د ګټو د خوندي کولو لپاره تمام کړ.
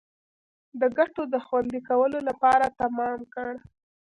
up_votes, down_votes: 2, 1